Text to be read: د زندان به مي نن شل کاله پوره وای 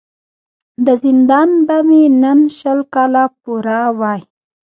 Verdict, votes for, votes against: rejected, 0, 2